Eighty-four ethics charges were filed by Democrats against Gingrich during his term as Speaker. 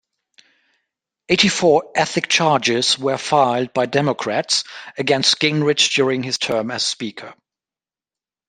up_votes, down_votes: 2, 0